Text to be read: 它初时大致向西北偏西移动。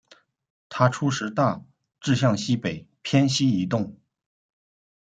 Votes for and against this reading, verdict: 2, 0, accepted